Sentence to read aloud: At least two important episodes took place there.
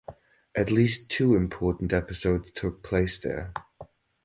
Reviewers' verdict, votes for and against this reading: rejected, 2, 2